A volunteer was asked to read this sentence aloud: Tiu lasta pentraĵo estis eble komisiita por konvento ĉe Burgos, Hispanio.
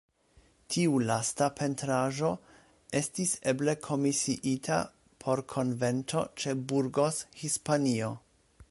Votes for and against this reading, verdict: 1, 2, rejected